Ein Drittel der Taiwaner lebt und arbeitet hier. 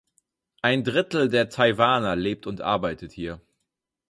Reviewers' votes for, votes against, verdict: 4, 0, accepted